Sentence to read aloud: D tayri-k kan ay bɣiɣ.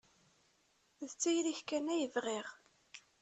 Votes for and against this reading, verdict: 2, 0, accepted